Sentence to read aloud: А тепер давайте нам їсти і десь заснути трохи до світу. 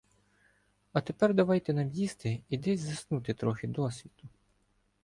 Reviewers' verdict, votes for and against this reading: rejected, 1, 2